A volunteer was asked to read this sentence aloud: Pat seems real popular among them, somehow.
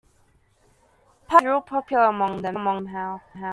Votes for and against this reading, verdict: 0, 2, rejected